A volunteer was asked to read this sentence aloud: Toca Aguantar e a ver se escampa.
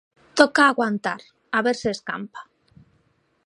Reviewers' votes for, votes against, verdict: 0, 2, rejected